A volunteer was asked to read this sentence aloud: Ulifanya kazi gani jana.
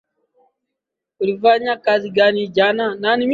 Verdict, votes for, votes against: rejected, 1, 2